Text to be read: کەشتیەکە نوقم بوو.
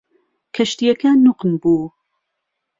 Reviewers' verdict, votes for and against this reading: accepted, 2, 0